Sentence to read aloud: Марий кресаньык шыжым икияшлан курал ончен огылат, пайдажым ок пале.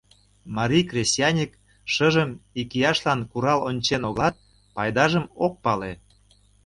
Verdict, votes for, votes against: rejected, 0, 2